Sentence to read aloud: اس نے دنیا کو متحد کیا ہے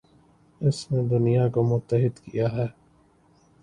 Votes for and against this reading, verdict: 2, 0, accepted